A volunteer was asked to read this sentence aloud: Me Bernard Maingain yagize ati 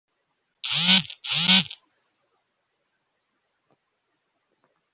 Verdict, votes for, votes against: rejected, 0, 3